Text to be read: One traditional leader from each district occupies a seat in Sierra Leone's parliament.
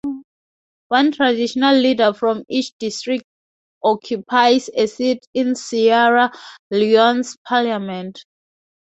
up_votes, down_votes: 0, 2